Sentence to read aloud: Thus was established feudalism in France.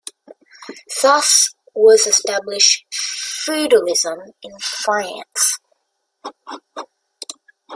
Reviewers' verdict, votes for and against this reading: rejected, 0, 2